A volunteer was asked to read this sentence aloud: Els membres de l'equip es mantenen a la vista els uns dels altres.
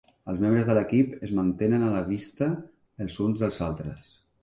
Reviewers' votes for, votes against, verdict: 3, 0, accepted